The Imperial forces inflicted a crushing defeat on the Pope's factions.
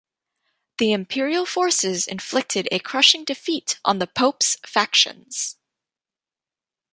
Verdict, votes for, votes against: accepted, 2, 0